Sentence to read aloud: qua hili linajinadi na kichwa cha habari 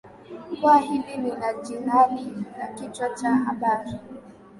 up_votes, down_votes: 14, 3